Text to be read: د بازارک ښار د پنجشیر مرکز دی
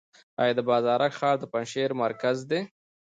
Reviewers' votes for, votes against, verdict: 0, 2, rejected